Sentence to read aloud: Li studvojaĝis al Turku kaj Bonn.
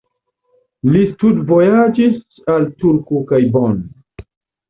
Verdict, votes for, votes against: accepted, 2, 0